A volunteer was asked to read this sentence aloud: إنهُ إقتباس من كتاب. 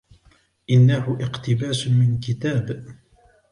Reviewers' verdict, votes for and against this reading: accepted, 2, 0